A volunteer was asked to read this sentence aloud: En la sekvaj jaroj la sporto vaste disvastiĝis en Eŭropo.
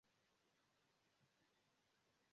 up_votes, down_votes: 1, 2